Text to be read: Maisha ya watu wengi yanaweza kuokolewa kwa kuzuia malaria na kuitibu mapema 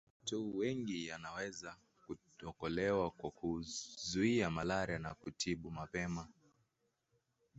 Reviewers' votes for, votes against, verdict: 2, 1, accepted